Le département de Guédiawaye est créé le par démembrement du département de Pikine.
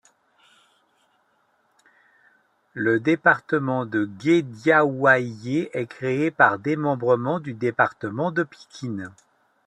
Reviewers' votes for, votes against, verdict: 1, 2, rejected